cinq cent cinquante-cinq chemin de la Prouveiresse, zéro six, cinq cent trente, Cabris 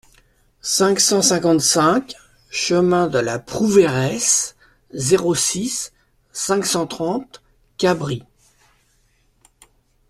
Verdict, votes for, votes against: accepted, 2, 0